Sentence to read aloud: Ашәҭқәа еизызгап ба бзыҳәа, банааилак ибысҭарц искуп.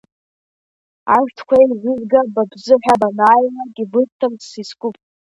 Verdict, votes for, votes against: rejected, 0, 2